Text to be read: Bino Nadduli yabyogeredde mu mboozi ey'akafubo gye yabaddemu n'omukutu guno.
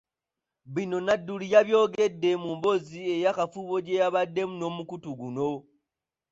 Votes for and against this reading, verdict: 3, 0, accepted